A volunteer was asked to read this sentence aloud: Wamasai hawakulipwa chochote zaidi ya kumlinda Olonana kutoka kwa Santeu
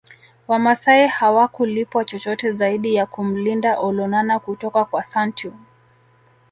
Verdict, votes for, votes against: accepted, 2, 0